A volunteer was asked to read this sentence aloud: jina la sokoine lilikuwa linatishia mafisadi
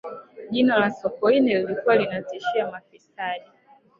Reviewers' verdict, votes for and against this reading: accepted, 2, 1